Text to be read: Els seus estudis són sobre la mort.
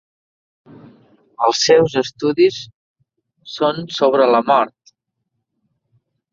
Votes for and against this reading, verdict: 4, 0, accepted